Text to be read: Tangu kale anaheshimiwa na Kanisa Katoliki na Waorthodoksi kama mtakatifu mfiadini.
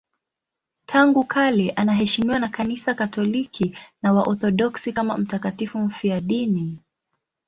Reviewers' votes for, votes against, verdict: 2, 0, accepted